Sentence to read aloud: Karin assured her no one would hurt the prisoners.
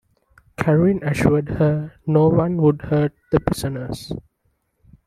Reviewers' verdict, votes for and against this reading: accepted, 2, 0